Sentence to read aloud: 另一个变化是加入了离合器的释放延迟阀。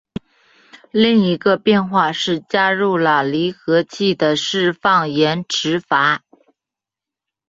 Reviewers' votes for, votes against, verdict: 2, 0, accepted